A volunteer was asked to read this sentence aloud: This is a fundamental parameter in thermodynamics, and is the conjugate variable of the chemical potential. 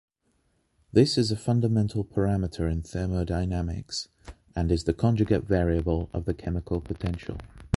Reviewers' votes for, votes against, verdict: 2, 0, accepted